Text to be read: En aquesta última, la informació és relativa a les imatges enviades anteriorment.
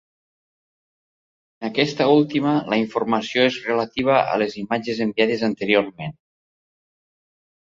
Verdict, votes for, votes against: accepted, 2, 0